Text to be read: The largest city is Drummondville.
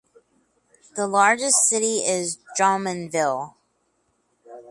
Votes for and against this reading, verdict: 4, 0, accepted